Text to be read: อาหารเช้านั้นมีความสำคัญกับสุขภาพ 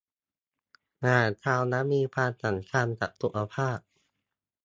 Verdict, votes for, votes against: accepted, 2, 0